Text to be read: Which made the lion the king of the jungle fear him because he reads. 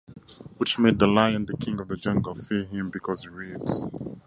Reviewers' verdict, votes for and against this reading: accepted, 2, 0